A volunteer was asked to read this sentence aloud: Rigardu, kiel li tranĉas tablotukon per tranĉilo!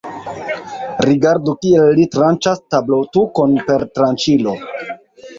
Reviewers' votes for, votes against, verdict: 1, 2, rejected